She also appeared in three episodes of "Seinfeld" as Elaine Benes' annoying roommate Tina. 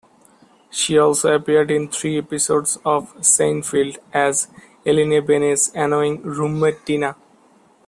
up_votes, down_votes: 2, 1